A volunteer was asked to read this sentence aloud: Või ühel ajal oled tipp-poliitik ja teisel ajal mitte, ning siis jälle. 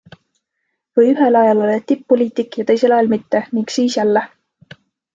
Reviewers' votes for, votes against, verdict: 2, 0, accepted